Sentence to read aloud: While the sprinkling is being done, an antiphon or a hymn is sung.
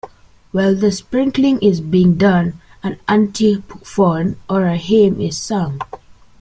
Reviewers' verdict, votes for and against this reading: rejected, 0, 2